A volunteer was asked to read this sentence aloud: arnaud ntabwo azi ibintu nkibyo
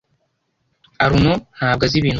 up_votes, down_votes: 0, 2